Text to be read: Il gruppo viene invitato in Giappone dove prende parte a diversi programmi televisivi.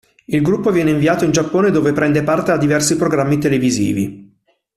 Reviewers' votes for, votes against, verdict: 0, 2, rejected